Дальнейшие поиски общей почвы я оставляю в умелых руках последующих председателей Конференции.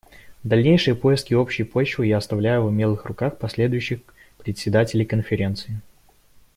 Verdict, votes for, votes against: accepted, 2, 0